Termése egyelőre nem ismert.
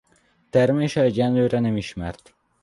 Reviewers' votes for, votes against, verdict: 0, 2, rejected